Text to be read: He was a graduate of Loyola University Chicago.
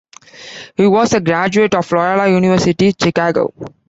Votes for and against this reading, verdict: 2, 0, accepted